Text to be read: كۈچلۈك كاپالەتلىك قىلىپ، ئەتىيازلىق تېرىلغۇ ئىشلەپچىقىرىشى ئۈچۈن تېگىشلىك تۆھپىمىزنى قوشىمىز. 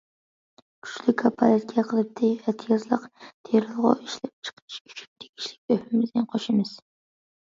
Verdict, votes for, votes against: rejected, 0, 2